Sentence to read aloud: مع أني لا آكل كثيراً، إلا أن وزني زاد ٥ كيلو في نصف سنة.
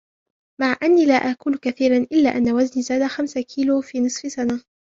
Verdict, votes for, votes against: rejected, 0, 2